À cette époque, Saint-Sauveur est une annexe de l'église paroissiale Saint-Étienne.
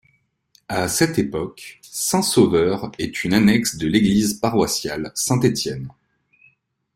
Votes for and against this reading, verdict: 2, 0, accepted